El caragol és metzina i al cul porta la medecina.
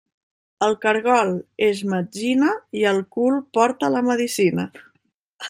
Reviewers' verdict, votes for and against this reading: rejected, 0, 2